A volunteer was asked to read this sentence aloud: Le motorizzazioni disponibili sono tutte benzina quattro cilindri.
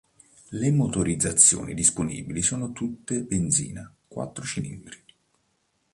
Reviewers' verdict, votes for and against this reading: accepted, 2, 0